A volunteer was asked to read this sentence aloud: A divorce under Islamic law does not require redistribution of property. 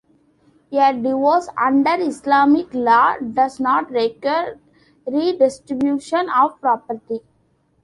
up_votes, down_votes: 2, 1